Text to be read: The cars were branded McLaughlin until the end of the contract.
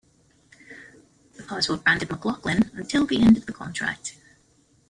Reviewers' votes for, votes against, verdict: 1, 2, rejected